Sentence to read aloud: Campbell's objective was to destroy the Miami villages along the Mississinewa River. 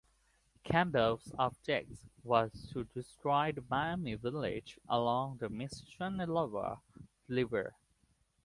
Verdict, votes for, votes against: rejected, 0, 2